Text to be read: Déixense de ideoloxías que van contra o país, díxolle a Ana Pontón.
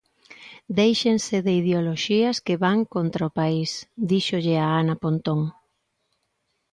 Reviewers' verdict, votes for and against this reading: accepted, 2, 0